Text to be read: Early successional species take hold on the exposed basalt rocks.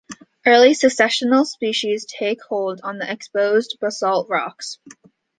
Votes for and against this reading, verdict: 2, 0, accepted